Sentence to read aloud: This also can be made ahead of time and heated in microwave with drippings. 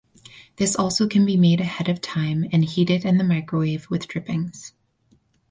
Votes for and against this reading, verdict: 4, 0, accepted